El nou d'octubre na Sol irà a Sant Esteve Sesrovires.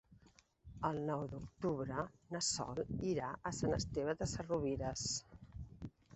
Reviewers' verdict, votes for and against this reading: rejected, 0, 2